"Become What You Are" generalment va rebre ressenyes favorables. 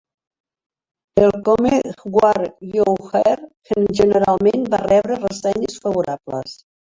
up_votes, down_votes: 0, 2